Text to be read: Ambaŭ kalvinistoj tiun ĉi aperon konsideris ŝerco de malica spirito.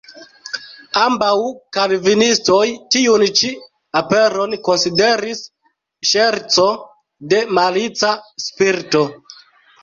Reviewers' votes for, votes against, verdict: 1, 2, rejected